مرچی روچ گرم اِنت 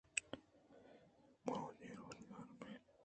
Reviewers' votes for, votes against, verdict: 1, 2, rejected